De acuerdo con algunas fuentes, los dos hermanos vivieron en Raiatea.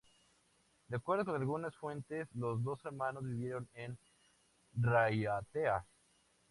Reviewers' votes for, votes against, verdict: 0, 2, rejected